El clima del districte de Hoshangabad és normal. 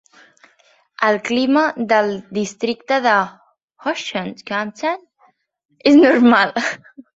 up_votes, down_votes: 0, 3